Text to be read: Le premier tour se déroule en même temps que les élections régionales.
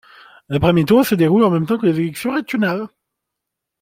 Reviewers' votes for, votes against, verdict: 2, 0, accepted